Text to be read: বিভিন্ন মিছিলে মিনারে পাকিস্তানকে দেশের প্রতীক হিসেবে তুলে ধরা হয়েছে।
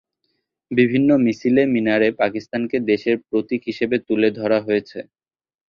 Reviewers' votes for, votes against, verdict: 0, 2, rejected